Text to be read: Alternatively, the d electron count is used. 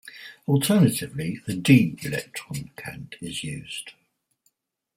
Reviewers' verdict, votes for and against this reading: rejected, 0, 4